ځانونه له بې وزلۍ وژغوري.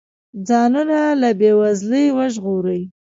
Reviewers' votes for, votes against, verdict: 1, 2, rejected